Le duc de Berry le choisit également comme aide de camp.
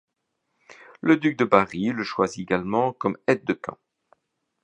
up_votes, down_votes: 0, 2